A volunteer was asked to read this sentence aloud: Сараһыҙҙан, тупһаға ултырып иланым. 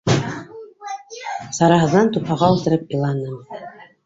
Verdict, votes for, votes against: rejected, 1, 2